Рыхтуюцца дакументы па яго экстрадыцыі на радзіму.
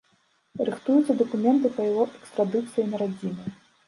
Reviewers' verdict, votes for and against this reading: rejected, 1, 2